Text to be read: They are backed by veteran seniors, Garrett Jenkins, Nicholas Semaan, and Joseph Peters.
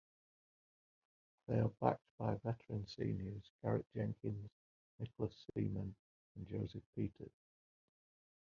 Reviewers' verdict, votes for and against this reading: accepted, 2, 1